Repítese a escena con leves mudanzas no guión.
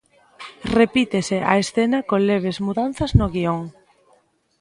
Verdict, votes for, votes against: accepted, 2, 0